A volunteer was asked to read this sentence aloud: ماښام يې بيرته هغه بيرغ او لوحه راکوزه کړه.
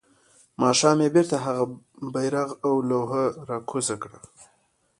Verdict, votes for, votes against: accepted, 2, 0